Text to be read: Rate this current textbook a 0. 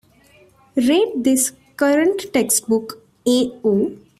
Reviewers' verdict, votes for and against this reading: rejected, 0, 2